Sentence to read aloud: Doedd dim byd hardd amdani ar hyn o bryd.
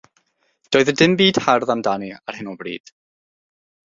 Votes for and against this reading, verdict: 0, 6, rejected